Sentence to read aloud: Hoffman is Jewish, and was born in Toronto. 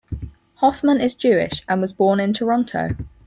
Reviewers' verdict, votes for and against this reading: accepted, 4, 0